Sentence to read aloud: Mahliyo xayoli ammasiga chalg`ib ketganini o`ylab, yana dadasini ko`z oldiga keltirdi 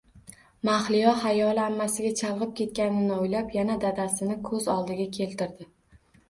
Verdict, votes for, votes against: accepted, 2, 0